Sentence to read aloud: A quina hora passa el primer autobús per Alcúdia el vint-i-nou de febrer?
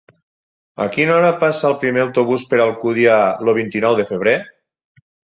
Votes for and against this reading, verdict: 4, 6, rejected